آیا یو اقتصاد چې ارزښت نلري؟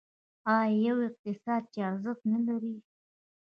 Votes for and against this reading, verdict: 0, 2, rejected